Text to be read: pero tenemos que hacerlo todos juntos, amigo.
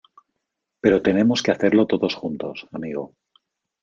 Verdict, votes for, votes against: accepted, 2, 1